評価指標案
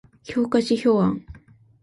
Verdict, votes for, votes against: accepted, 2, 0